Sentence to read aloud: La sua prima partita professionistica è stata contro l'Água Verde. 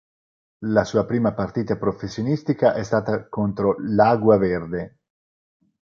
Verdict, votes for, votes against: accepted, 4, 0